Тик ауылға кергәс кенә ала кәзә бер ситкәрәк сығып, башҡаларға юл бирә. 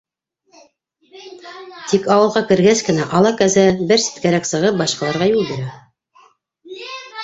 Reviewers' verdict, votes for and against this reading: rejected, 0, 2